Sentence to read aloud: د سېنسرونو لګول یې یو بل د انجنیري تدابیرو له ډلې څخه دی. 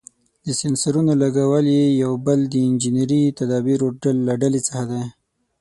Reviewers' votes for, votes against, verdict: 0, 6, rejected